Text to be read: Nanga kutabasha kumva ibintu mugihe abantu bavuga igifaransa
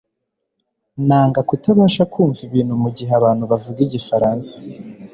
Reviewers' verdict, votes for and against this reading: accepted, 4, 0